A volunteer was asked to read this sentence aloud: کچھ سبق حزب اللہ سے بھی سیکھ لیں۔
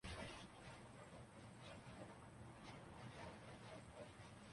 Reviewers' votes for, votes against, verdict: 0, 2, rejected